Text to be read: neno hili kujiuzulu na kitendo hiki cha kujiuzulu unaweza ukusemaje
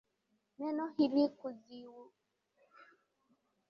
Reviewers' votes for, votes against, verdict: 1, 4, rejected